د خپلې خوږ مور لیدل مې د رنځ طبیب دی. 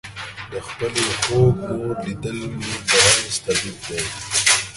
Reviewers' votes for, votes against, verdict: 0, 2, rejected